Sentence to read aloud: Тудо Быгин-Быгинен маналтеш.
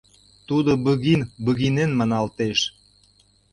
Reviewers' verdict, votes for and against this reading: accepted, 2, 0